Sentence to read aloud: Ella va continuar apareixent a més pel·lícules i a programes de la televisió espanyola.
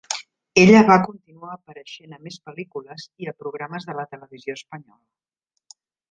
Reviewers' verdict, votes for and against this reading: rejected, 0, 2